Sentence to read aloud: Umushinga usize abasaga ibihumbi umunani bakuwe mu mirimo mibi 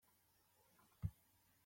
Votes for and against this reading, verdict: 0, 2, rejected